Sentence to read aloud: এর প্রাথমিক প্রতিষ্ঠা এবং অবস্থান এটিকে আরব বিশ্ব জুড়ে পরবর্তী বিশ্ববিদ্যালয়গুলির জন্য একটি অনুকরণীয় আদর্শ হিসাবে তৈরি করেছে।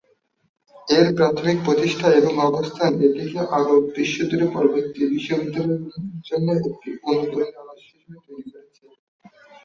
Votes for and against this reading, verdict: 0, 2, rejected